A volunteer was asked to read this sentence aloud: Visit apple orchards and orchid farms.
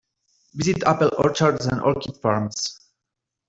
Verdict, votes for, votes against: rejected, 1, 2